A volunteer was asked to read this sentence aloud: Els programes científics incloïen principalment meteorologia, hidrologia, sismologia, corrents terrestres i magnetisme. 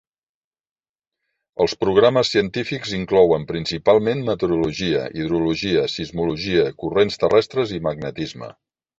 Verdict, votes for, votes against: rejected, 1, 2